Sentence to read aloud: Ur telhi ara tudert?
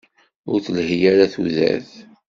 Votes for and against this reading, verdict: 1, 2, rejected